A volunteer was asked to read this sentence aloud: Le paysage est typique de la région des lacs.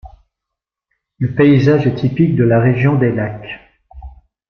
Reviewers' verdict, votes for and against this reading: accepted, 2, 0